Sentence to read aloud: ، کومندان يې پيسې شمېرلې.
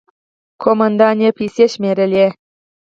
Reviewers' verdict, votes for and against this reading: rejected, 0, 4